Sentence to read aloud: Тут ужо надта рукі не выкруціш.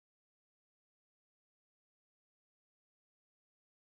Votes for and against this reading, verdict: 0, 3, rejected